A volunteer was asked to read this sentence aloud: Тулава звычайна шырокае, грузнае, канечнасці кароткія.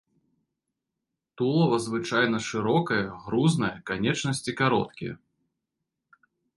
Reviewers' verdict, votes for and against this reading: accepted, 2, 0